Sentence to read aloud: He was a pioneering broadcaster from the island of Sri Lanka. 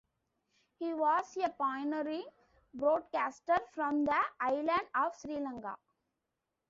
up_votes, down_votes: 1, 2